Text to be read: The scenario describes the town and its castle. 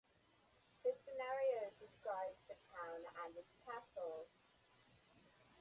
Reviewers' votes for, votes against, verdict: 4, 4, rejected